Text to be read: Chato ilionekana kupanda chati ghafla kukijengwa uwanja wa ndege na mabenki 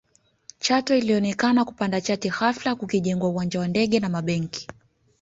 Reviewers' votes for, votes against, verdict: 1, 2, rejected